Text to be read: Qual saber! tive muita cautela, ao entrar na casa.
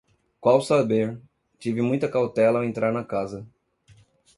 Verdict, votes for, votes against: accepted, 2, 0